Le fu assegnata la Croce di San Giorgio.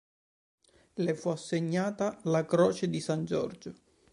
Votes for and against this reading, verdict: 3, 1, accepted